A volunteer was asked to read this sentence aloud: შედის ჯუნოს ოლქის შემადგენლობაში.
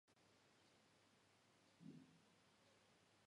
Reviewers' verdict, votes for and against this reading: accepted, 2, 0